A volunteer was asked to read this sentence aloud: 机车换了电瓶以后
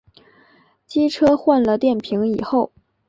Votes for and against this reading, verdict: 3, 0, accepted